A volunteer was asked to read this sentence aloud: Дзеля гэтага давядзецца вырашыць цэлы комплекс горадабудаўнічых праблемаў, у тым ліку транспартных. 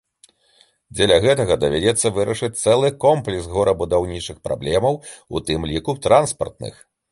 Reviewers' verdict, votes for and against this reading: rejected, 0, 2